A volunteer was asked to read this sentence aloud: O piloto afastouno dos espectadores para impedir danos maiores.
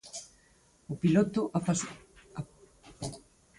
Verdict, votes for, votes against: rejected, 0, 4